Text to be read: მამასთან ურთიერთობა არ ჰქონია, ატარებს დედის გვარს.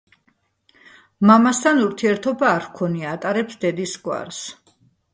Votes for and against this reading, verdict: 2, 0, accepted